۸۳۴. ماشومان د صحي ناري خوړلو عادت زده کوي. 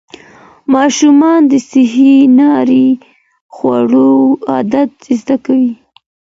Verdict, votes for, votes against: rejected, 0, 2